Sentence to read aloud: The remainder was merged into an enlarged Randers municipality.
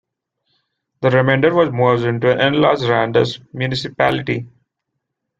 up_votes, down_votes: 1, 2